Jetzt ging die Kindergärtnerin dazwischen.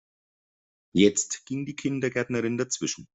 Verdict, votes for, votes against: accepted, 2, 0